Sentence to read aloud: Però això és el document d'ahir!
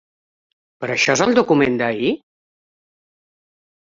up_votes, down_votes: 0, 2